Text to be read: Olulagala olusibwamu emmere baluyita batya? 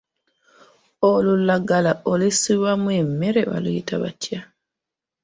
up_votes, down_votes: 1, 2